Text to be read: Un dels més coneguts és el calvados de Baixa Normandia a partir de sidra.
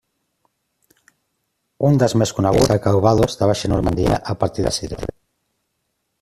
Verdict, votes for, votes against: rejected, 0, 2